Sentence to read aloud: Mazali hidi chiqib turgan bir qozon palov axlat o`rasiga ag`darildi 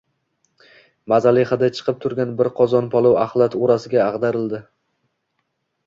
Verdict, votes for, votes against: accepted, 2, 0